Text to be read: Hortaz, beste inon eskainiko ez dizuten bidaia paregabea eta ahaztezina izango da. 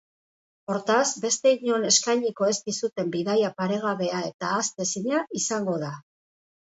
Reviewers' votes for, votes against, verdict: 2, 0, accepted